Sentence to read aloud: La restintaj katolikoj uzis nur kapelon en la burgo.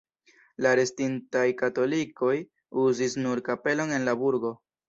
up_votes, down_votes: 2, 1